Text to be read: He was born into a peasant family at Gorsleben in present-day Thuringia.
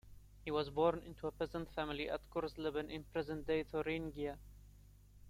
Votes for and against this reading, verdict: 2, 0, accepted